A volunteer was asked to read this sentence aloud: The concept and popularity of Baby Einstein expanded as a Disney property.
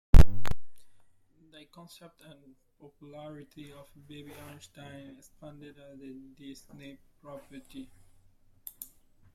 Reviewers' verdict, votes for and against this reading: rejected, 1, 2